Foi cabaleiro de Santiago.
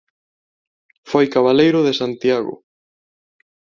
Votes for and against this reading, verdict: 2, 1, accepted